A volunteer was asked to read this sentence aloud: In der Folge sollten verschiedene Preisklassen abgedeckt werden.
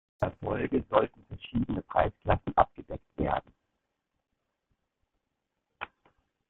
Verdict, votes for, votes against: rejected, 0, 2